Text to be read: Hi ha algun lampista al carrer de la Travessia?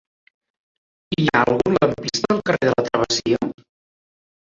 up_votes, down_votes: 0, 2